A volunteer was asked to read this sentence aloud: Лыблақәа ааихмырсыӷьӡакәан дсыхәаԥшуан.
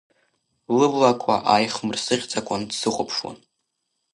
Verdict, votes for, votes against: accepted, 2, 0